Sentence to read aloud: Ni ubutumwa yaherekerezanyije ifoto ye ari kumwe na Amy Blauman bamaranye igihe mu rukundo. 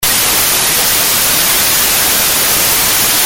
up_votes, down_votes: 0, 3